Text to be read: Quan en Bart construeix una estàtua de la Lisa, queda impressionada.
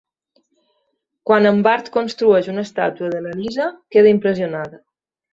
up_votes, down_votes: 2, 0